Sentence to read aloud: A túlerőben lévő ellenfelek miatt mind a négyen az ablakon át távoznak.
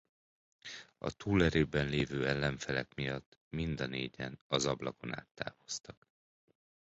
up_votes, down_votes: 1, 2